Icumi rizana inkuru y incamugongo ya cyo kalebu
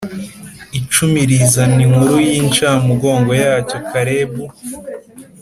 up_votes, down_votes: 2, 0